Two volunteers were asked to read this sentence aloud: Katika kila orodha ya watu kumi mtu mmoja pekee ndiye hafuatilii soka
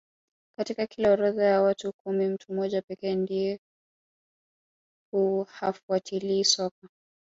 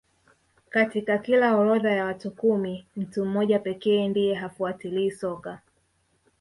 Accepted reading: second